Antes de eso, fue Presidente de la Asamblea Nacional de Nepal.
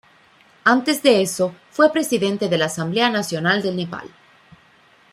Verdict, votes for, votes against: rejected, 1, 2